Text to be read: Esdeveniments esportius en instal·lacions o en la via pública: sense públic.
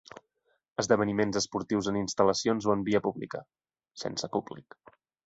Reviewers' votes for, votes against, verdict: 0, 2, rejected